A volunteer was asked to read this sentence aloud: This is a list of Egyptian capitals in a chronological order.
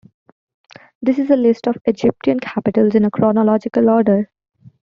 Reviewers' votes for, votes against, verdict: 2, 0, accepted